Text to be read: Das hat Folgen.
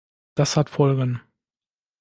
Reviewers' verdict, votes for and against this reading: accepted, 2, 0